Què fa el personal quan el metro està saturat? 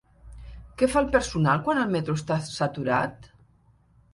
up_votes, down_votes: 5, 0